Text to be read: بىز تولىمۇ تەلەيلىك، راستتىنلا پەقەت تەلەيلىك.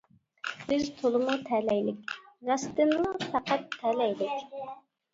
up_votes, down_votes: 2, 0